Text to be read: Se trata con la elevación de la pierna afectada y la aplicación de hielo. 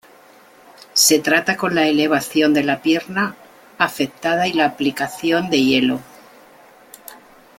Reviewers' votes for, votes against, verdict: 2, 0, accepted